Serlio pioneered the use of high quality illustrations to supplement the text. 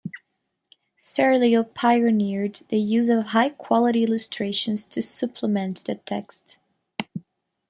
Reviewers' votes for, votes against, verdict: 2, 1, accepted